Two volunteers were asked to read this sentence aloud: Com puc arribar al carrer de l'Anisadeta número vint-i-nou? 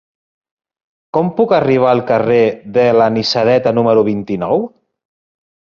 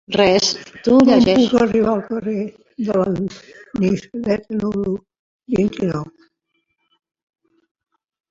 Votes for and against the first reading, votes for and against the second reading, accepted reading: 3, 0, 0, 2, first